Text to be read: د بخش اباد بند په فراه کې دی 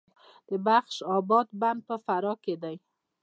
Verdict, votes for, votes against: accepted, 2, 1